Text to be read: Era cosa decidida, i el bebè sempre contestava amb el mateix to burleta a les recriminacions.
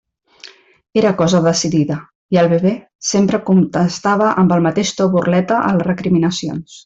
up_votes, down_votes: 0, 2